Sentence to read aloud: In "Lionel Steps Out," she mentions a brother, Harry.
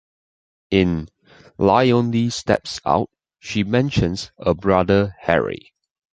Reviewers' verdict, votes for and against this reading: rejected, 1, 2